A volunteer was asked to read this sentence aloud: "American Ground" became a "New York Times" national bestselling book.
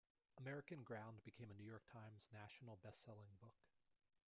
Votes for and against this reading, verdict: 2, 0, accepted